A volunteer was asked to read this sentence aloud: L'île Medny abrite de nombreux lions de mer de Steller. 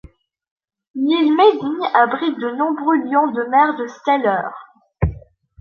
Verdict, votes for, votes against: accepted, 2, 0